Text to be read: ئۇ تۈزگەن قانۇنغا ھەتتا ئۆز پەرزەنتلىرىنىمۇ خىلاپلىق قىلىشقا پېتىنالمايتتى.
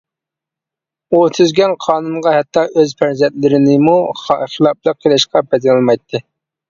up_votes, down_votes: 0, 2